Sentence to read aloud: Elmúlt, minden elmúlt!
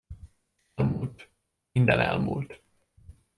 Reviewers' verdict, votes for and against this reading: rejected, 0, 2